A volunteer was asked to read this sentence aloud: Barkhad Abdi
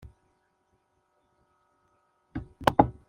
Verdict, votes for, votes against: rejected, 0, 2